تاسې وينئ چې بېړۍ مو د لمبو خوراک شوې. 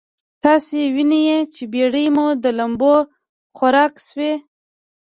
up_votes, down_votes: 0, 2